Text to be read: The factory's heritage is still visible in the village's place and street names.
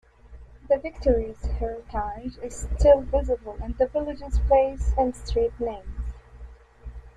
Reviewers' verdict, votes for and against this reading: accepted, 2, 1